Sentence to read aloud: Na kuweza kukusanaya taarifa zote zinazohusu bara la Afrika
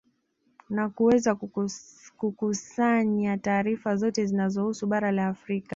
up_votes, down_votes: 1, 2